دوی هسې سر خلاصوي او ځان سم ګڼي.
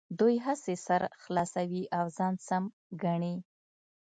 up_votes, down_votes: 2, 0